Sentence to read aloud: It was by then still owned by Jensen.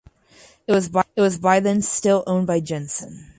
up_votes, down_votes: 0, 4